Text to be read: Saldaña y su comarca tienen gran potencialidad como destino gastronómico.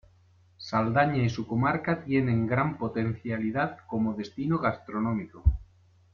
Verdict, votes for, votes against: accepted, 2, 0